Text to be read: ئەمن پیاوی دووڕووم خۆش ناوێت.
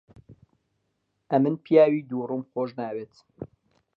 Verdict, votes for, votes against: accepted, 2, 0